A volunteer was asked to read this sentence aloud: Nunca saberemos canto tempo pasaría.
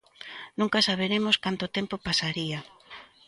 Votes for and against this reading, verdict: 2, 0, accepted